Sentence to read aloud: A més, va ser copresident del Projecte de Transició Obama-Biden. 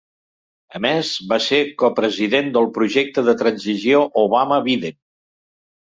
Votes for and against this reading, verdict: 2, 1, accepted